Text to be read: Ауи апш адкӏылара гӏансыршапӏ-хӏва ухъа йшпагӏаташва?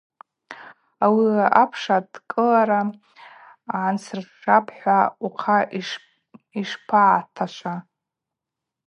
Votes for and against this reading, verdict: 2, 0, accepted